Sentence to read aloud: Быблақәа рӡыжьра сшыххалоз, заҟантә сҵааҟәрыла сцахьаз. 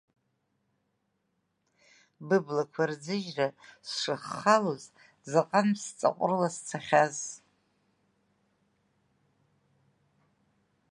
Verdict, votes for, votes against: rejected, 1, 2